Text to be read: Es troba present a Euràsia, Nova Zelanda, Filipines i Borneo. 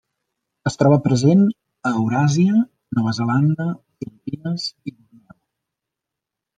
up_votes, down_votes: 0, 2